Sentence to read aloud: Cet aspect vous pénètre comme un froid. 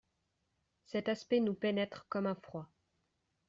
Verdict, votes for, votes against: rejected, 0, 2